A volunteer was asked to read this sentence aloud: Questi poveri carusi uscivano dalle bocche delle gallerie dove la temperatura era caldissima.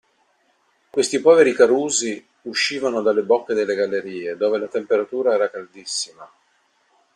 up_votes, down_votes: 2, 0